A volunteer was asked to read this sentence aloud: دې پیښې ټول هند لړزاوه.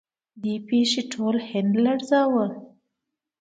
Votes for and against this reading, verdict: 2, 0, accepted